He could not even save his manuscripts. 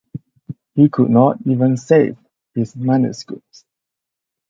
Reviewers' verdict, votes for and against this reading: accepted, 4, 2